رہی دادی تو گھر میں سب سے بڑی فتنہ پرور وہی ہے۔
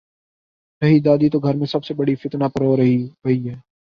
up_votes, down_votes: 15, 5